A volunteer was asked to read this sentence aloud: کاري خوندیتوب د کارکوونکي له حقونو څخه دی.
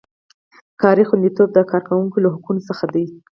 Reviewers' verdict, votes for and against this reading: accepted, 4, 0